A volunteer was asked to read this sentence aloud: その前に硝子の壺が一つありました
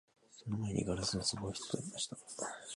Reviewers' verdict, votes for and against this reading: rejected, 0, 3